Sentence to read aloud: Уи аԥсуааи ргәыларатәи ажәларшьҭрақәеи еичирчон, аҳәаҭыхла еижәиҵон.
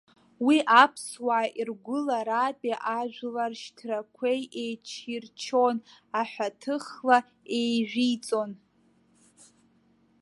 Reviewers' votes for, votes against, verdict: 1, 2, rejected